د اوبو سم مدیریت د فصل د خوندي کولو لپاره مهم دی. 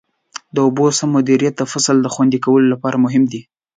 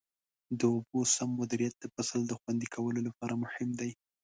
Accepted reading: second